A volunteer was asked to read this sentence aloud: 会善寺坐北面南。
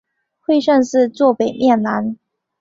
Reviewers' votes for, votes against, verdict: 4, 0, accepted